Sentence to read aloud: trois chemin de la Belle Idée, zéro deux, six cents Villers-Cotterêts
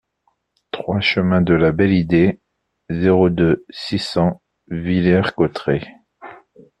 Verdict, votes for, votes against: accepted, 2, 0